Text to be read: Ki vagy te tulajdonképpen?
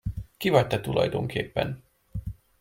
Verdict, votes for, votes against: accepted, 2, 0